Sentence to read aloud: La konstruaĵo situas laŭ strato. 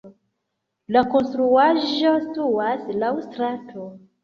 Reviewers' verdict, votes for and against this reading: accepted, 2, 1